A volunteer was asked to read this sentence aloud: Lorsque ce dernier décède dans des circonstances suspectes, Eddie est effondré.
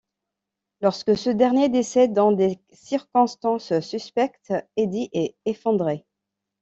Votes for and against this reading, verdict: 2, 0, accepted